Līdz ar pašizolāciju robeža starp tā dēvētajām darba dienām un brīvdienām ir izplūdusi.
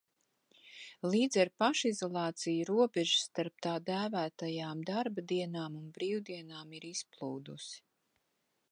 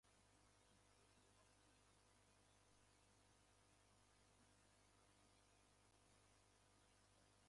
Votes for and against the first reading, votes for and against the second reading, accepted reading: 2, 0, 0, 2, first